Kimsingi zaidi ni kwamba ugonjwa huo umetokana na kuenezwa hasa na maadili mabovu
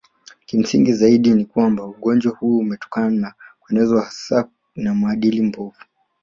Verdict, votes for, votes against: accepted, 2, 0